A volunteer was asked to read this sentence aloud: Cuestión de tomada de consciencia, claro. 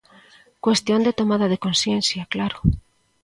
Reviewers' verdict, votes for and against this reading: accepted, 2, 0